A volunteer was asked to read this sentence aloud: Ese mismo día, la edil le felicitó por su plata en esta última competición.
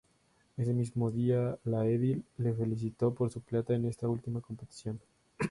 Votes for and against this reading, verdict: 0, 2, rejected